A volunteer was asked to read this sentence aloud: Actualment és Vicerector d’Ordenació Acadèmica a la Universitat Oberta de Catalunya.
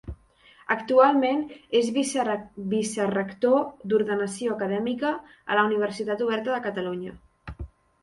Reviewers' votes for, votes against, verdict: 0, 2, rejected